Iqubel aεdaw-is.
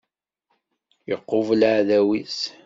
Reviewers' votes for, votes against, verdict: 2, 0, accepted